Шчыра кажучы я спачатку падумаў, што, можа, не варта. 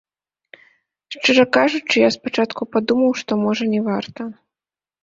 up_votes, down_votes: 0, 2